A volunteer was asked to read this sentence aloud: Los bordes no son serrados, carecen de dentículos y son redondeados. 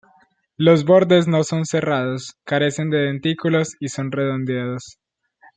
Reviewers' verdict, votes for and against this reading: accepted, 2, 0